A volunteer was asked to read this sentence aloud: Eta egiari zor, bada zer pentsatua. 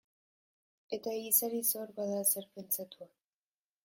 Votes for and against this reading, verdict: 2, 1, accepted